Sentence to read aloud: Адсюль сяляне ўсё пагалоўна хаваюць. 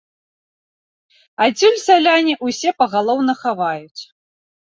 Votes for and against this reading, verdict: 1, 3, rejected